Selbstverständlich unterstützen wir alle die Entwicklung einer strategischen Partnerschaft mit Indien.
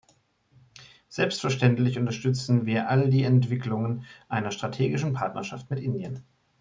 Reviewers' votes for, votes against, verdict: 1, 2, rejected